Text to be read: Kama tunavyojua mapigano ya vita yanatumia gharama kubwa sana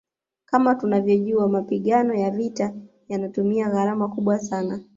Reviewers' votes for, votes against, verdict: 2, 0, accepted